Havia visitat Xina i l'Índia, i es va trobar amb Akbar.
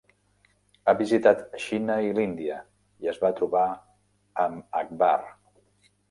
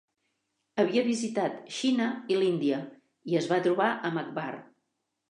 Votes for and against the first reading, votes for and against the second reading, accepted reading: 1, 2, 3, 0, second